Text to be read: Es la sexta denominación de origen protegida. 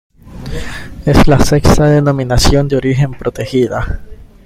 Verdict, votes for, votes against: accepted, 2, 1